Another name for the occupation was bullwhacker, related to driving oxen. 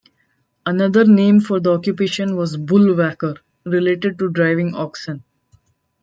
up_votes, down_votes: 2, 1